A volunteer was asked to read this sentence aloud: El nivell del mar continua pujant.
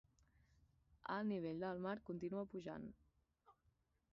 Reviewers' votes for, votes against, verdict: 2, 4, rejected